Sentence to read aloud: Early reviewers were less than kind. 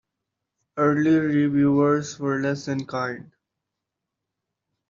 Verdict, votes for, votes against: accepted, 2, 0